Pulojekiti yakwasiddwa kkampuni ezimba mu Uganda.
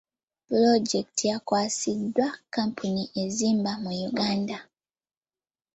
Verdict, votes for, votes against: accepted, 2, 0